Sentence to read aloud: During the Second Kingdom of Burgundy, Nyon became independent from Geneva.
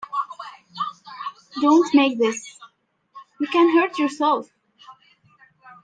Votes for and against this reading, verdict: 0, 2, rejected